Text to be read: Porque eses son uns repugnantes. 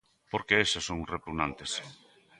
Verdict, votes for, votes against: accepted, 2, 1